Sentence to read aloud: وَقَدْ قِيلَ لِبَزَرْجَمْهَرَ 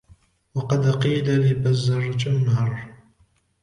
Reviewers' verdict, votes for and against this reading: accepted, 2, 0